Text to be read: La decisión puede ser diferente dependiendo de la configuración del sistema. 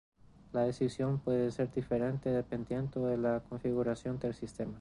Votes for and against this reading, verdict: 2, 2, rejected